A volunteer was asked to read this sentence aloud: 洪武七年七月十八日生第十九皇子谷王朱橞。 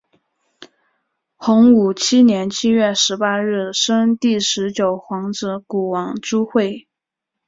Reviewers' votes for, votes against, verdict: 2, 1, accepted